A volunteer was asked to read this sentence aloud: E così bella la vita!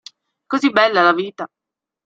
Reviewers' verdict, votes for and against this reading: rejected, 0, 2